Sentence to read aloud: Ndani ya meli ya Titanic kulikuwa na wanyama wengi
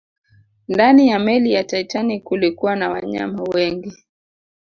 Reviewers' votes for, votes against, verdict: 2, 0, accepted